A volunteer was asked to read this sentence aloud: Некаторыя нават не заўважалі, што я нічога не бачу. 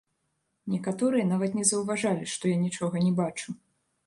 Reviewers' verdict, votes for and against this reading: rejected, 1, 2